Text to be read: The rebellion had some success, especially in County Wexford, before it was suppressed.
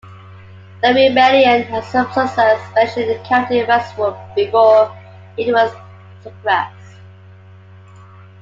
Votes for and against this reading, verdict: 2, 1, accepted